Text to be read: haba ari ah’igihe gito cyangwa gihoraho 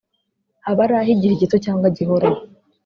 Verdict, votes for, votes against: accepted, 2, 0